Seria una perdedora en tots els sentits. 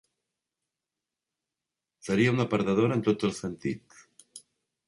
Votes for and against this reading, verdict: 2, 0, accepted